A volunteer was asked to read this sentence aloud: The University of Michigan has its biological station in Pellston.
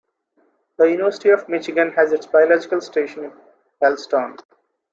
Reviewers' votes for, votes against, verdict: 0, 2, rejected